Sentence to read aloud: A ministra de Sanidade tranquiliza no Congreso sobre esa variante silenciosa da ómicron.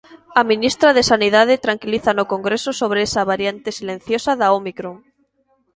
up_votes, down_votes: 2, 0